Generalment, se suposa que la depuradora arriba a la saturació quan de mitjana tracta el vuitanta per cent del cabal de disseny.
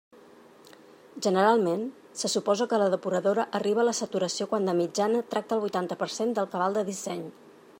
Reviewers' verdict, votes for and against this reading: accepted, 3, 0